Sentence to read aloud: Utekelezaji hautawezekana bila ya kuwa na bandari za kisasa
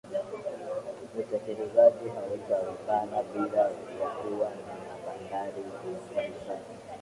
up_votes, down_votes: 0, 2